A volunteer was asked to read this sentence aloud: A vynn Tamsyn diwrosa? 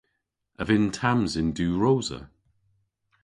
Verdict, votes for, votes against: accepted, 2, 0